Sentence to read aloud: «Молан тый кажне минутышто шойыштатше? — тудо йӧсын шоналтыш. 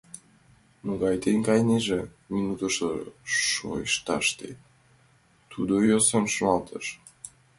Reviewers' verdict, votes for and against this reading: rejected, 0, 2